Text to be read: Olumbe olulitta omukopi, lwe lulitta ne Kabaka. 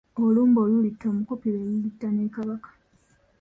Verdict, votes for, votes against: accepted, 2, 0